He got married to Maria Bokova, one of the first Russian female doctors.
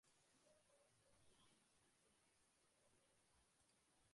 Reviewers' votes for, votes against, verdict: 0, 2, rejected